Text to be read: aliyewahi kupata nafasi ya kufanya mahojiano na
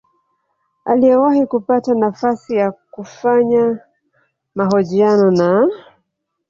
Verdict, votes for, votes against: accepted, 2, 0